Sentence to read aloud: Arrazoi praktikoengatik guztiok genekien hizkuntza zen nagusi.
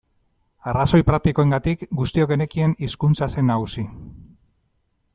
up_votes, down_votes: 2, 1